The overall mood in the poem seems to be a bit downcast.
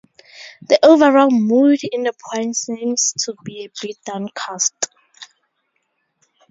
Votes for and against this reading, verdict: 4, 0, accepted